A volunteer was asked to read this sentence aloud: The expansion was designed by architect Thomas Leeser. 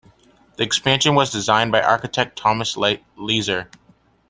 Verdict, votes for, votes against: rejected, 0, 2